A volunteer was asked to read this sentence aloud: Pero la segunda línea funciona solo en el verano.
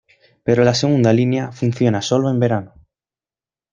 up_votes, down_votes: 2, 0